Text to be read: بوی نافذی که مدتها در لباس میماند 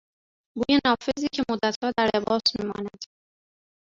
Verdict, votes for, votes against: rejected, 1, 2